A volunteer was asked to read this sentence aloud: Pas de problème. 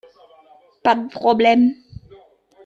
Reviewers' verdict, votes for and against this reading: accepted, 2, 1